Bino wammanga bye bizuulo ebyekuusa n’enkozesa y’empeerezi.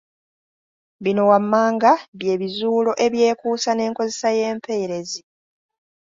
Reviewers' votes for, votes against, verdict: 2, 0, accepted